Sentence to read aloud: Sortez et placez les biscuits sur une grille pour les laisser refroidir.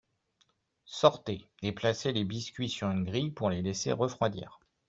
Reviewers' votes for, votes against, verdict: 2, 0, accepted